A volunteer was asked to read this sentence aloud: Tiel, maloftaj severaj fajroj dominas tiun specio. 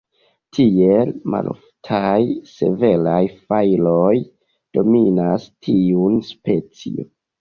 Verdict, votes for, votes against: rejected, 1, 2